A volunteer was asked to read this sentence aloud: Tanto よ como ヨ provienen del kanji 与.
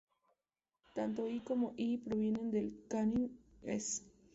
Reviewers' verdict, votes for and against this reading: rejected, 0, 2